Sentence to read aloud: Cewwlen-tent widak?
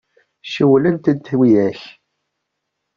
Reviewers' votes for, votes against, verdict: 0, 2, rejected